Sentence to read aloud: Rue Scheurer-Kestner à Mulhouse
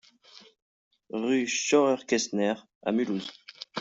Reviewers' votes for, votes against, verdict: 0, 2, rejected